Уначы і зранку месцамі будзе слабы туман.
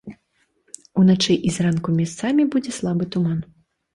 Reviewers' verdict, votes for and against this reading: rejected, 0, 2